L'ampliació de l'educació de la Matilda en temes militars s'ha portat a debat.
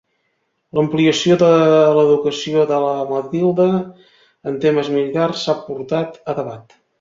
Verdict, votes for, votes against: rejected, 1, 2